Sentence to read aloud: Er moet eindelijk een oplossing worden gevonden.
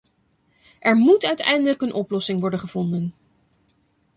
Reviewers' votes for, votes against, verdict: 0, 2, rejected